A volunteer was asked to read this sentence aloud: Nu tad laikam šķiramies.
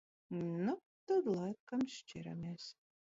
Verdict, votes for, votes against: rejected, 0, 2